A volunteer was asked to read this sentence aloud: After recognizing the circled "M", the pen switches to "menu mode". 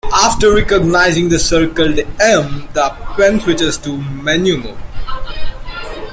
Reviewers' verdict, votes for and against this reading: rejected, 0, 2